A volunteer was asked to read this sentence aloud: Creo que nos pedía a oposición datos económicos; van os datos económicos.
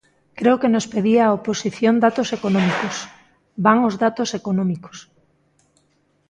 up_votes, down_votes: 2, 0